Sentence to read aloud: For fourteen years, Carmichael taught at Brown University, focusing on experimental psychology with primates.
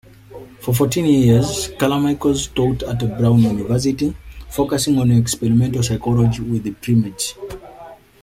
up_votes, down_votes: 2, 1